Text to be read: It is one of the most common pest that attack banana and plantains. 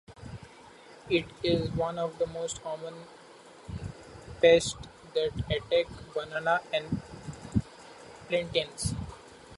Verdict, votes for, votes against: accepted, 2, 0